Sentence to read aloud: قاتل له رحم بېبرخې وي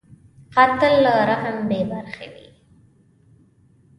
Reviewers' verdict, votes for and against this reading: rejected, 1, 2